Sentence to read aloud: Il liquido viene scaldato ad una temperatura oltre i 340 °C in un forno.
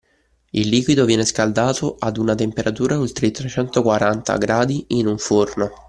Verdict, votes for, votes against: rejected, 0, 2